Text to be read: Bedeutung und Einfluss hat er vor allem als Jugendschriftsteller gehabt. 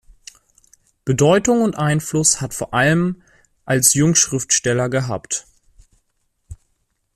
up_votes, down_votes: 0, 2